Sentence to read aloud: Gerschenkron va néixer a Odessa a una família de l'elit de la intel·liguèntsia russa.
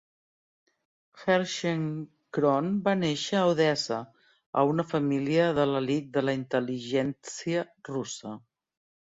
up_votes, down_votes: 1, 2